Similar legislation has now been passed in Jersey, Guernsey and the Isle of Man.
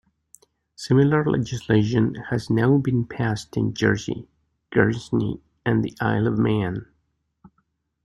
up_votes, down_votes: 0, 2